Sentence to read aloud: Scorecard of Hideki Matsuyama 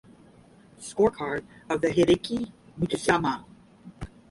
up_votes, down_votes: 5, 5